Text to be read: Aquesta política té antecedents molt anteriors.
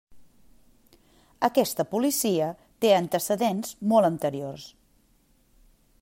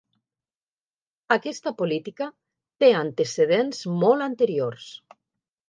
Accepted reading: second